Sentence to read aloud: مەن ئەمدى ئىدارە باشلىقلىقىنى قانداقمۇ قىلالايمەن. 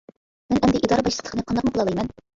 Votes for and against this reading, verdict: 0, 2, rejected